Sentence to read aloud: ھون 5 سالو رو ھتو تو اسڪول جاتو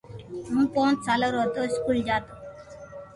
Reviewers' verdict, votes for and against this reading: rejected, 0, 2